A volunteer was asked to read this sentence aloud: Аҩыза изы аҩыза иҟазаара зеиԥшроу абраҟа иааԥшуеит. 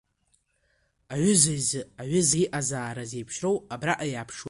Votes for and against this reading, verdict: 2, 0, accepted